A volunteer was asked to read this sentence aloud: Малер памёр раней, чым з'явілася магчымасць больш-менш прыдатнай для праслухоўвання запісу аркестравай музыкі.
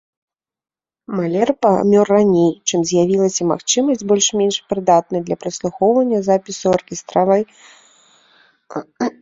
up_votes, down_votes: 0, 2